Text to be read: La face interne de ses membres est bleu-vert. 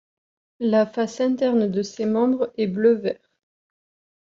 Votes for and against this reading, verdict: 1, 2, rejected